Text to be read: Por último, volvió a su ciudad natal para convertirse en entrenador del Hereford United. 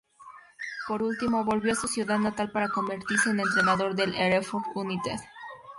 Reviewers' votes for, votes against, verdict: 2, 0, accepted